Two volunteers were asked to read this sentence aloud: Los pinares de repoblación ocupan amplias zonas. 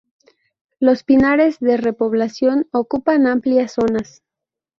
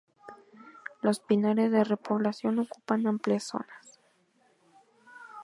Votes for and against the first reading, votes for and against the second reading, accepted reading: 0, 2, 2, 0, second